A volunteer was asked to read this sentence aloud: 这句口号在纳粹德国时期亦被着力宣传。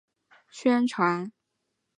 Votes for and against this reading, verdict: 0, 2, rejected